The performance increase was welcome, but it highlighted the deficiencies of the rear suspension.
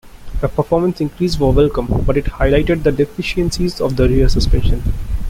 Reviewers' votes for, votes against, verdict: 0, 2, rejected